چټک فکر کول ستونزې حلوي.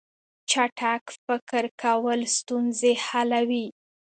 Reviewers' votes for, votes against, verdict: 2, 0, accepted